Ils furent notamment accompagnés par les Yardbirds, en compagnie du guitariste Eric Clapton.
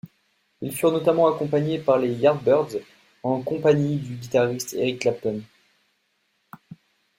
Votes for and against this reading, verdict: 2, 0, accepted